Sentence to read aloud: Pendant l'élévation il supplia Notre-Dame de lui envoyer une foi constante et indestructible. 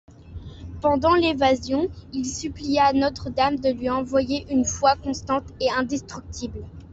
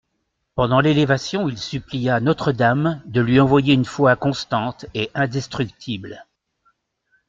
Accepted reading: second